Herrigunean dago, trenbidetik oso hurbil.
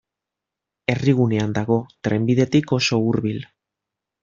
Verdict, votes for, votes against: accepted, 2, 0